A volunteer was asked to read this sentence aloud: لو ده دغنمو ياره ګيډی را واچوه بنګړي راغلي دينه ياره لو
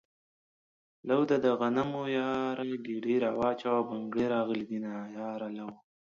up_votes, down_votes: 2, 0